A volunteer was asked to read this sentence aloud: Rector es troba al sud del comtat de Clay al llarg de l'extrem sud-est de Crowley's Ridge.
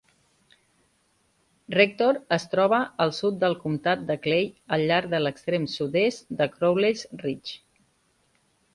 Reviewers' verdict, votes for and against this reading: accepted, 3, 0